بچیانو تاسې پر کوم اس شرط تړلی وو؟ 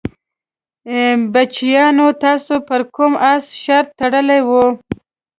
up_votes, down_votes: 2, 0